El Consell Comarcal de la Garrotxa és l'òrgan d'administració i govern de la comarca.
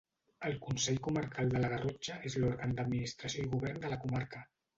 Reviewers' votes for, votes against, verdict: 0, 2, rejected